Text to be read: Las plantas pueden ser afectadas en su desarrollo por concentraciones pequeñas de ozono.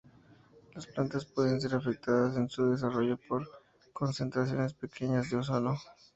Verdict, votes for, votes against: accepted, 2, 0